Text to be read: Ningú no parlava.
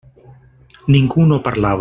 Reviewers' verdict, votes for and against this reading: rejected, 0, 2